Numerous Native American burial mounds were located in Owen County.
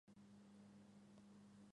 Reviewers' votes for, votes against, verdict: 0, 2, rejected